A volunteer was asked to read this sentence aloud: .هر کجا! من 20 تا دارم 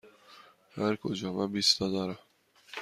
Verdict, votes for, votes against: rejected, 0, 2